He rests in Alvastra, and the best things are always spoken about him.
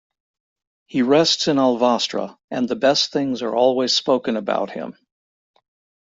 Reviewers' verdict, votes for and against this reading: accepted, 2, 0